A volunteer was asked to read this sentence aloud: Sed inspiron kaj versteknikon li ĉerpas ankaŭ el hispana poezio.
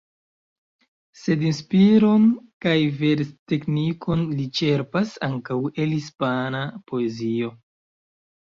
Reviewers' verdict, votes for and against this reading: accepted, 2, 1